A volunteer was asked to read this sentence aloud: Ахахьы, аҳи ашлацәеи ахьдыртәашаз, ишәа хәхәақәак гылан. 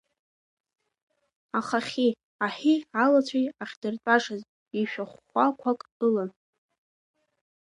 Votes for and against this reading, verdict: 1, 2, rejected